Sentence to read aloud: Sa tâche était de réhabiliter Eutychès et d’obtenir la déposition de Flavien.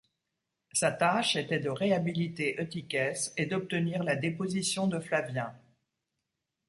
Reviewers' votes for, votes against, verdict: 3, 0, accepted